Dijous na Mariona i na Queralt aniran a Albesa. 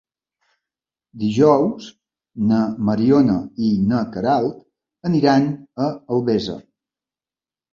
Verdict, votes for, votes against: accepted, 2, 0